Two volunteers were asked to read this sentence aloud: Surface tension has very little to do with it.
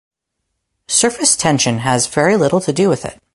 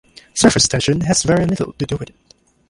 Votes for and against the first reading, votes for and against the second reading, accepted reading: 2, 0, 1, 2, first